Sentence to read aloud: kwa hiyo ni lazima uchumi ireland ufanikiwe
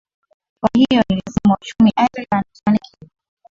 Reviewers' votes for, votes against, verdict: 0, 4, rejected